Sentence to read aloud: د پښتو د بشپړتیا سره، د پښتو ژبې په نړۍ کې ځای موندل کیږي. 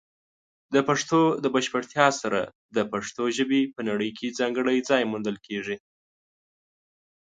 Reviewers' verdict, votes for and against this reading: rejected, 0, 2